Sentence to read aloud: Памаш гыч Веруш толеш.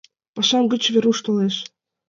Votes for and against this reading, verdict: 2, 1, accepted